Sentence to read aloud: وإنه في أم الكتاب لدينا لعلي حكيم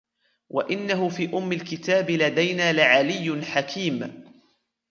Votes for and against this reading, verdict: 0, 2, rejected